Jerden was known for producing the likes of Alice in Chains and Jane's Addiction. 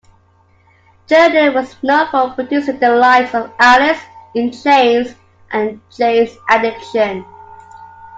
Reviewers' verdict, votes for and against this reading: accepted, 2, 0